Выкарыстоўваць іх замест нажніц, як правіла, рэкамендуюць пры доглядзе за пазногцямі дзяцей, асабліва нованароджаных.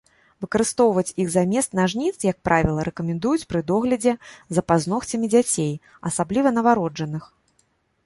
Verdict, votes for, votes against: rejected, 1, 2